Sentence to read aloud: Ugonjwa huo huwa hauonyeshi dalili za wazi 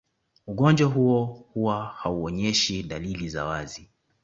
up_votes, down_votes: 2, 0